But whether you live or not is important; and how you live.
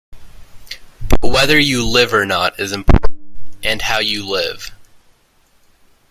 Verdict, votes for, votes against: rejected, 0, 2